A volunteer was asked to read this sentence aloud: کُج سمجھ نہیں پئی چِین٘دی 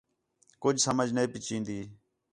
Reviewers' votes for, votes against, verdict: 4, 0, accepted